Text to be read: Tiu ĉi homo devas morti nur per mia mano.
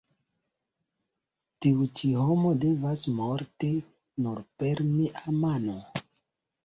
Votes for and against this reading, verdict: 1, 2, rejected